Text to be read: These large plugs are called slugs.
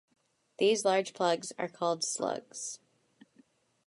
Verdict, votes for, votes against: accepted, 2, 0